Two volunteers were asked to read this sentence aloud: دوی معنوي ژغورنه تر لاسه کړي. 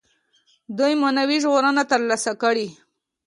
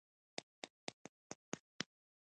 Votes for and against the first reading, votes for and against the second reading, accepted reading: 2, 0, 1, 2, first